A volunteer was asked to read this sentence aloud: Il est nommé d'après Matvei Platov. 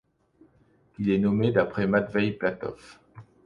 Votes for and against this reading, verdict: 2, 0, accepted